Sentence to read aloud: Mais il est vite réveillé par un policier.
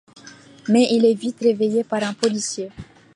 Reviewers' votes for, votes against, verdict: 2, 0, accepted